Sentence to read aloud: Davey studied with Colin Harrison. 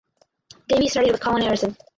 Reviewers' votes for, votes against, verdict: 0, 2, rejected